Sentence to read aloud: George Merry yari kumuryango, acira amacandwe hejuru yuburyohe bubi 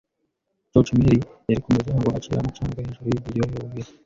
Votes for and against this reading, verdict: 0, 2, rejected